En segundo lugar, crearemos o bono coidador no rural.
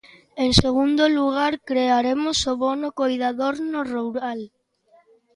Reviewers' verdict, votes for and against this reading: rejected, 1, 2